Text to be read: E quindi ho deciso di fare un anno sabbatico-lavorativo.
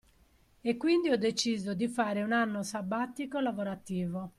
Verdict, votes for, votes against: accepted, 2, 0